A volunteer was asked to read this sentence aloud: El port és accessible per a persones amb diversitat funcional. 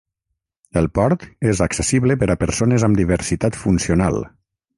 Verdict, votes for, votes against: rejected, 0, 3